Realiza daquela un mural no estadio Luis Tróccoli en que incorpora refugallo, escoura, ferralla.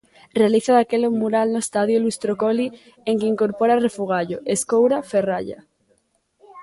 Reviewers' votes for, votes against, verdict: 2, 1, accepted